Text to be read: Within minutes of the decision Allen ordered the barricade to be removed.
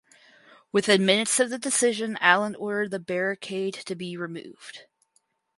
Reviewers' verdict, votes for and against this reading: rejected, 2, 2